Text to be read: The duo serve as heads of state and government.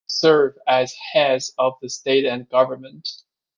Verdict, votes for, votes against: rejected, 0, 2